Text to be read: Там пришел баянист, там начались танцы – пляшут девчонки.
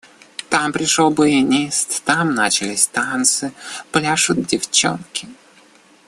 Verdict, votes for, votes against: accepted, 2, 0